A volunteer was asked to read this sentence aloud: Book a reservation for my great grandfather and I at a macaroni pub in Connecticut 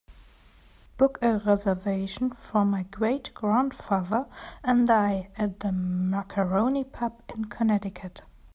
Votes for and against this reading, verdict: 1, 2, rejected